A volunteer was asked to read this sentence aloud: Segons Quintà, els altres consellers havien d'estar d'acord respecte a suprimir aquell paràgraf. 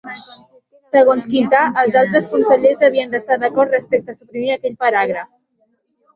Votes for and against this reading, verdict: 3, 0, accepted